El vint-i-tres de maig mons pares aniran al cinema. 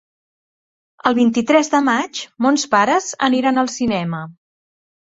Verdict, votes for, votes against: accepted, 3, 0